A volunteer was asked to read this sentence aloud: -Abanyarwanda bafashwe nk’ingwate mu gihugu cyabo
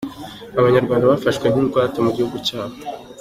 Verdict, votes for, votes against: accepted, 2, 0